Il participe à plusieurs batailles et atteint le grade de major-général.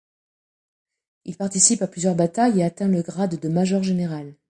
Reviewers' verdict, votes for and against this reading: accepted, 2, 0